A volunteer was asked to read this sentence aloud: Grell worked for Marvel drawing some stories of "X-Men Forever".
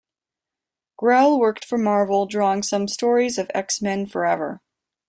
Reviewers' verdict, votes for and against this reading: accepted, 2, 0